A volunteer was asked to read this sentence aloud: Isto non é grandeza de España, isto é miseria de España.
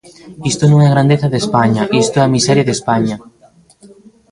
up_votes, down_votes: 0, 2